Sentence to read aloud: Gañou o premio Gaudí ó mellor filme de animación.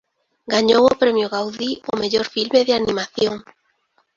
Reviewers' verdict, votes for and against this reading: accepted, 2, 0